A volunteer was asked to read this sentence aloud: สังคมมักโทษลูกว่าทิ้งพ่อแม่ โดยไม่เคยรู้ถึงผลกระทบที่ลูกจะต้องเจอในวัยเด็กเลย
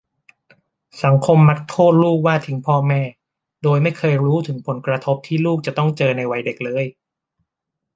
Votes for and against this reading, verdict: 2, 0, accepted